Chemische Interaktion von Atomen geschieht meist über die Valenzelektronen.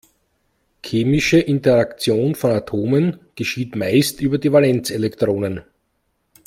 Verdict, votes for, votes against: accepted, 2, 0